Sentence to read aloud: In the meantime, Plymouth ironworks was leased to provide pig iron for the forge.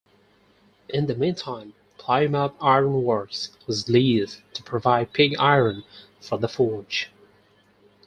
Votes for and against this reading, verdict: 0, 4, rejected